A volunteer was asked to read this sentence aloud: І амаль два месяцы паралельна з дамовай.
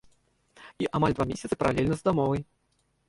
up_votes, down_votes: 0, 2